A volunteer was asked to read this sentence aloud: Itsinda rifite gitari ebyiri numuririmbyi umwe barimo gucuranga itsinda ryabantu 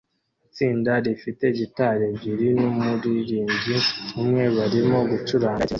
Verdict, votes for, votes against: rejected, 0, 2